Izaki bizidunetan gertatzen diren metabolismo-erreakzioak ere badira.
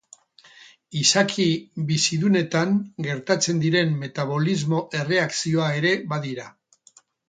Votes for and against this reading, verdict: 2, 6, rejected